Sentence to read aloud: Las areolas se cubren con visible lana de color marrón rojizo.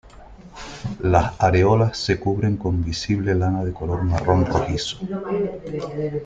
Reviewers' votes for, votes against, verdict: 2, 0, accepted